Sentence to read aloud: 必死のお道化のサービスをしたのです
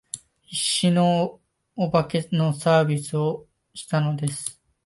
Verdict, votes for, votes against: accepted, 2, 1